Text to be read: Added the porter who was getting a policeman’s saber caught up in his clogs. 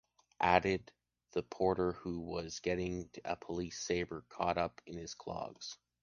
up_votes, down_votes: 1, 2